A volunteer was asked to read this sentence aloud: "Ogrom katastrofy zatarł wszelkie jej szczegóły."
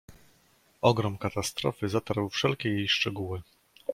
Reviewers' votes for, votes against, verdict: 2, 0, accepted